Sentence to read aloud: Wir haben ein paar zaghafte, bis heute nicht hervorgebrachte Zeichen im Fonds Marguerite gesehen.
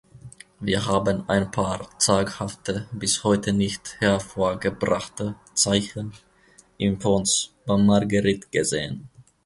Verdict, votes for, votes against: rejected, 0, 2